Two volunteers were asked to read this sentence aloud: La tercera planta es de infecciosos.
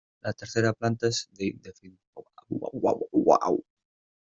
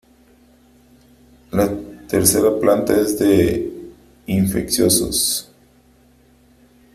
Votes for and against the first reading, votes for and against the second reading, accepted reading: 0, 2, 2, 1, second